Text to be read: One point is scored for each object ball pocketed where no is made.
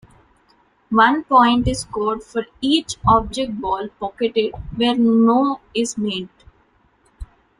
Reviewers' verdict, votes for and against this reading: accepted, 2, 0